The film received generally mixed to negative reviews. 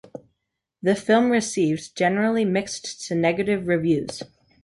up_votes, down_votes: 2, 0